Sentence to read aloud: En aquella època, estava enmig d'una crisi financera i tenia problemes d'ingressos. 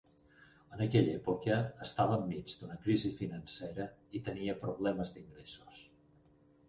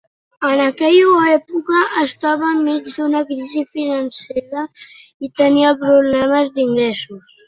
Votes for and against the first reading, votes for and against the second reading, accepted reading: 4, 2, 0, 2, first